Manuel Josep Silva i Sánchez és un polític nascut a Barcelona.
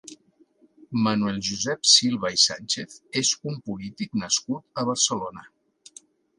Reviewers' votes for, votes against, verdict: 3, 0, accepted